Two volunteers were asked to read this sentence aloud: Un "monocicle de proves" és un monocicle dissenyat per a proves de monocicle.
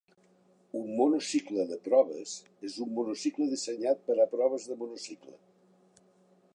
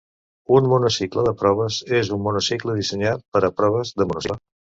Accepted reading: first